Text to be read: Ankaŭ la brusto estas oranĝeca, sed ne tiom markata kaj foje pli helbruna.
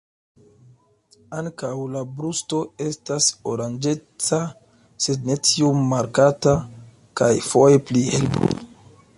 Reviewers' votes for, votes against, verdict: 1, 2, rejected